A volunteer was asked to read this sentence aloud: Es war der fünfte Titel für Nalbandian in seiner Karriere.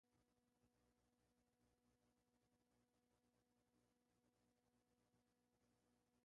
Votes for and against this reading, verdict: 0, 2, rejected